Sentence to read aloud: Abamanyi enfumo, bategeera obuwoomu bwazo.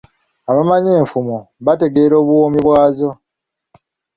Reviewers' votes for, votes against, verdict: 1, 2, rejected